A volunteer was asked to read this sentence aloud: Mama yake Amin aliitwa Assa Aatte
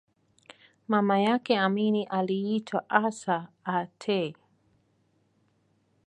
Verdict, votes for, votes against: accepted, 2, 0